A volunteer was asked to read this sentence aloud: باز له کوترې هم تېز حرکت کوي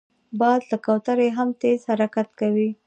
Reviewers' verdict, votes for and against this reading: rejected, 1, 2